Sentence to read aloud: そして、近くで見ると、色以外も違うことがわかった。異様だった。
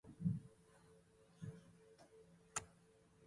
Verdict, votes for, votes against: rejected, 0, 2